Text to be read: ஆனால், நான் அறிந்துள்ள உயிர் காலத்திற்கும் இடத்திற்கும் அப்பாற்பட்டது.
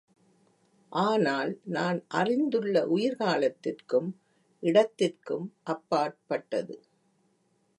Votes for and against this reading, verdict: 2, 0, accepted